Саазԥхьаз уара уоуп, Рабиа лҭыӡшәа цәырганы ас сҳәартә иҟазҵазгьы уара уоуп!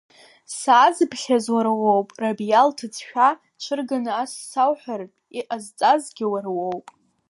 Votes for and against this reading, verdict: 1, 2, rejected